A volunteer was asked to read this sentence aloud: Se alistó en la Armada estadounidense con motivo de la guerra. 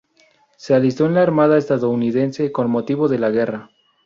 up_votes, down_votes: 2, 0